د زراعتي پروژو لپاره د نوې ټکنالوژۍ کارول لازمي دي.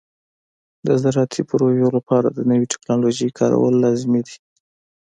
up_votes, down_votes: 2, 0